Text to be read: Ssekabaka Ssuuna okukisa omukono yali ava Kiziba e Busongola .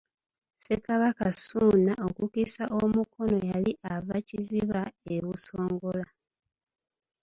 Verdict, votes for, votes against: accepted, 2, 0